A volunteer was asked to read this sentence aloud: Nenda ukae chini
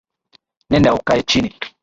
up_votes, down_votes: 2, 0